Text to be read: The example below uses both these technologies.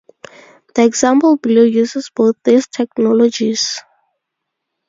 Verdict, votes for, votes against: accepted, 2, 0